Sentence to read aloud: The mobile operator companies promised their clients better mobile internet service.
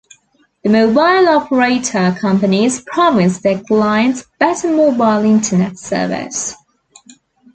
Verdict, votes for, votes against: accepted, 2, 0